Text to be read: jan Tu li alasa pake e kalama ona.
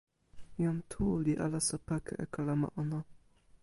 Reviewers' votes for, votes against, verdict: 2, 0, accepted